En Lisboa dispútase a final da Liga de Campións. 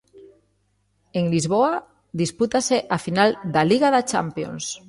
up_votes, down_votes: 0, 2